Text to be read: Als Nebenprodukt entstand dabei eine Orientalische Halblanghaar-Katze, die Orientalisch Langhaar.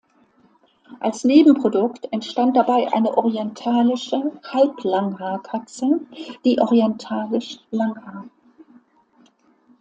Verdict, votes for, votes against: accepted, 2, 0